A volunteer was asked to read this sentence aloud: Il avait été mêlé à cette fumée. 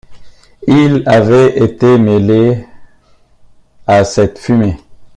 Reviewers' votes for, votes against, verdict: 1, 2, rejected